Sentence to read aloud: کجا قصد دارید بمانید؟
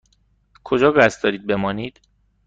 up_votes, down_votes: 2, 0